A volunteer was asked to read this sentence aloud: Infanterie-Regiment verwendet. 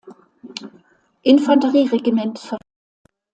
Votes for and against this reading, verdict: 0, 2, rejected